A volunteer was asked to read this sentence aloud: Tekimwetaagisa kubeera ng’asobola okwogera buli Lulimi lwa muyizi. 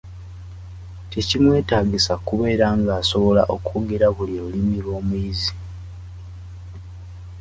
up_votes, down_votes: 0, 2